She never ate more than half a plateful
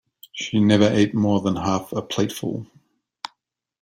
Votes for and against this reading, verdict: 2, 0, accepted